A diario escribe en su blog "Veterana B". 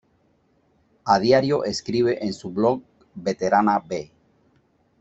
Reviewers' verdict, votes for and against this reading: accepted, 2, 0